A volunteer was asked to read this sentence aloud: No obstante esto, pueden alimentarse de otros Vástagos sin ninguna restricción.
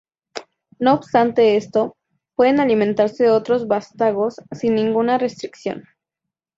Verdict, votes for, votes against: accepted, 2, 0